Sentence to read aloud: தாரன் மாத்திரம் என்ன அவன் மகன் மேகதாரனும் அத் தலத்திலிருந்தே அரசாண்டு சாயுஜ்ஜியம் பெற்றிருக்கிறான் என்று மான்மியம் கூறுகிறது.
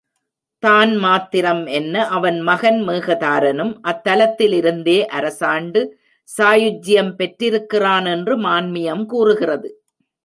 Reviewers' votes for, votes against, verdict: 1, 2, rejected